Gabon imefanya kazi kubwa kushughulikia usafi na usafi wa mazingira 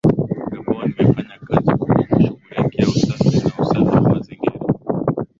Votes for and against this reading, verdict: 0, 2, rejected